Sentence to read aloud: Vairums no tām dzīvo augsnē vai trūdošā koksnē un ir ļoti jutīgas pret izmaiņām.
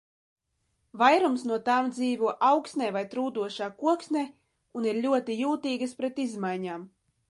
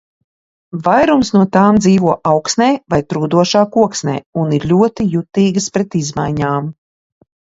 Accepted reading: second